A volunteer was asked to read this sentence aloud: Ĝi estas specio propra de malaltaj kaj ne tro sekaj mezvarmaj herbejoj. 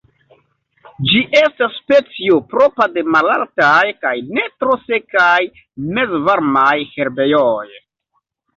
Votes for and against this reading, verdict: 2, 0, accepted